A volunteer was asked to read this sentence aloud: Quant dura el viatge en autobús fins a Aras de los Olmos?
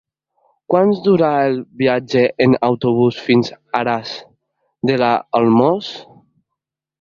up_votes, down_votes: 0, 2